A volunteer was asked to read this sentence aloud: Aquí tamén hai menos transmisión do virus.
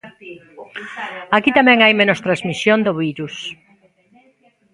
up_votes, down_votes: 0, 2